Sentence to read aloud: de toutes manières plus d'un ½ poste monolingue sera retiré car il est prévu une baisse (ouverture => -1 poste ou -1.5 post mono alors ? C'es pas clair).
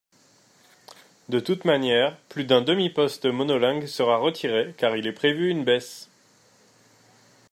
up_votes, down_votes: 0, 2